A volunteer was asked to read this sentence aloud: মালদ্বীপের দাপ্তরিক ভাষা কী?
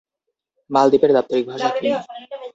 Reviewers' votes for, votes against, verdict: 0, 2, rejected